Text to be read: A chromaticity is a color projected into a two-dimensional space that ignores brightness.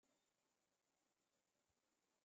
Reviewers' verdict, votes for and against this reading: rejected, 0, 2